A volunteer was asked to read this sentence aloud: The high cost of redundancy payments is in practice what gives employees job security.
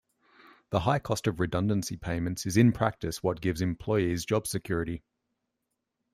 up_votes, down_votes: 2, 0